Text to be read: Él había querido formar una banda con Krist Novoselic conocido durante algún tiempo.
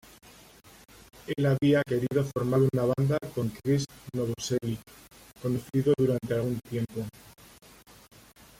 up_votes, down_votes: 1, 2